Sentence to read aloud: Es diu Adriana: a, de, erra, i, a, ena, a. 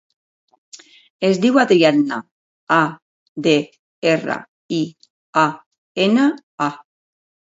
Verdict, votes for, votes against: accepted, 2, 0